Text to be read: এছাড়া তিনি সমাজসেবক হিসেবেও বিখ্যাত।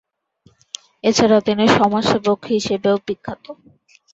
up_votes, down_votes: 2, 0